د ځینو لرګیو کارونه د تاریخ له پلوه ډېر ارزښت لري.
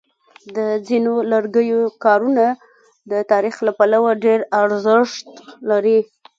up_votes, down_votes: 1, 2